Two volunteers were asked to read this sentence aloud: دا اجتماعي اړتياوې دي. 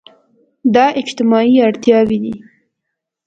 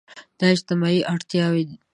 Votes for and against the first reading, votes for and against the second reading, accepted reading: 2, 0, 1, 2, first